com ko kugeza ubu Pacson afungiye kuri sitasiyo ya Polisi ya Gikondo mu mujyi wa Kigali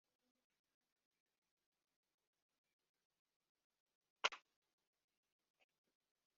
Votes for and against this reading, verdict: 0, 2, rejected